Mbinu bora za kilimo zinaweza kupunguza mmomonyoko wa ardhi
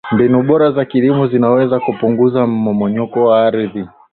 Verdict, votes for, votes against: accepted, 2, 1